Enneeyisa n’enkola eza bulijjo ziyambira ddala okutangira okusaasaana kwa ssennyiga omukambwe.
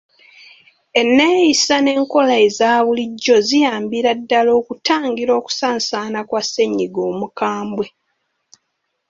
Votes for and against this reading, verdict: 3, 0, accepted